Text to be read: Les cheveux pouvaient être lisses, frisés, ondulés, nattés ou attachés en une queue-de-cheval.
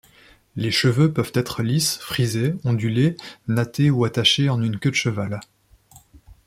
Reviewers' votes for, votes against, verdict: 1, 2, rejected